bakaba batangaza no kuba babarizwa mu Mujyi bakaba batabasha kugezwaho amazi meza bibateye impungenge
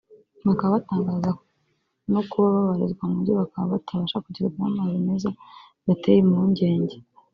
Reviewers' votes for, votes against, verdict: 1, 2, rejected